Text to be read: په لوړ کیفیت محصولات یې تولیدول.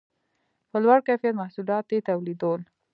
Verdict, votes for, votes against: rejected, 1, 2